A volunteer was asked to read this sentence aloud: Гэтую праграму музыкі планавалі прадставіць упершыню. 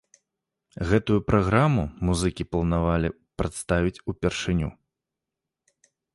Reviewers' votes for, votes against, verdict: 2, 0, accepted